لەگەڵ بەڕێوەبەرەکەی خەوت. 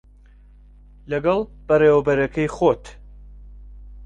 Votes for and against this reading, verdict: 1, 2, rejected